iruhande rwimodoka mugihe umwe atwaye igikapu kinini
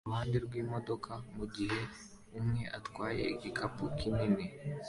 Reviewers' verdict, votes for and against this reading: accepted, 2, 0